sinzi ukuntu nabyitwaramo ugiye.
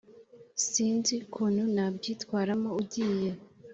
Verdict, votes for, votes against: accepted, 3, 0